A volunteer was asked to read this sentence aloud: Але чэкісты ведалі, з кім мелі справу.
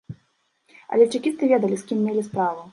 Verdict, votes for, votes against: accepted, 2, 0